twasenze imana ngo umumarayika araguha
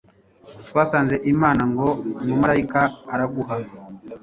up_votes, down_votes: 1, 2